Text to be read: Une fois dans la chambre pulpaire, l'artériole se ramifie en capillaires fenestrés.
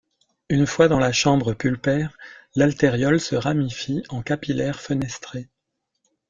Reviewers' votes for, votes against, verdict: 4, 2, accepted